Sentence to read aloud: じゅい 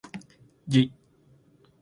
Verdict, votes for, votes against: accepted, 2, 0